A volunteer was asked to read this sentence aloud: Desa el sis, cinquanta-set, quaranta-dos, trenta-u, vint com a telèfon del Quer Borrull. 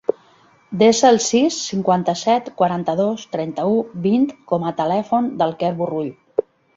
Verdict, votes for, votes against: accepted, 3, 0